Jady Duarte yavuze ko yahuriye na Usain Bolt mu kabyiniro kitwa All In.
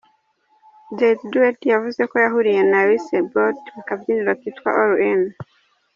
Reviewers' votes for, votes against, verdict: 2, 1, accepted